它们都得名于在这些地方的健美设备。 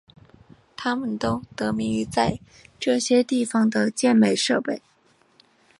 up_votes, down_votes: 2, 0